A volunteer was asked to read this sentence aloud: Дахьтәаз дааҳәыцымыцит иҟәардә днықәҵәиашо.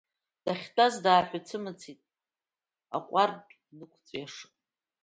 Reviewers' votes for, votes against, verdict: 0, 2, rejected